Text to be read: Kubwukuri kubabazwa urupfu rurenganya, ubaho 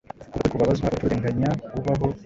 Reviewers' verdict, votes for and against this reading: accepted, 2, 0